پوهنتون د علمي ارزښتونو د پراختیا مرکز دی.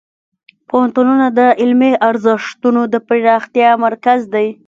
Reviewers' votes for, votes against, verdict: 0, 2, rejected